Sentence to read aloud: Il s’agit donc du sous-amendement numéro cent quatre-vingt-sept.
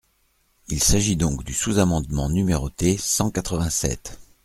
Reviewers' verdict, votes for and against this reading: rejected, 1, 2